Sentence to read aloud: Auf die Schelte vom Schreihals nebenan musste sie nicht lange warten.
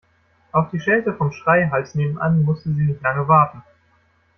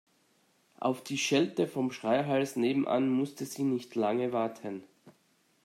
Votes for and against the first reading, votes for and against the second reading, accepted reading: 1, 2, 2, 0, second